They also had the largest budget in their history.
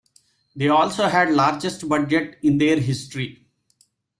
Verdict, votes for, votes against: accepted, 2, 1